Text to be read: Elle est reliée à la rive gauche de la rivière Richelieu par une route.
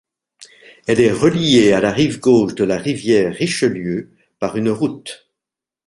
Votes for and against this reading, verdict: 2, 0, accepted